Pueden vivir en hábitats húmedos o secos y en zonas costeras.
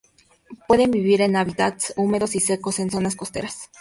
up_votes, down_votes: 2, 0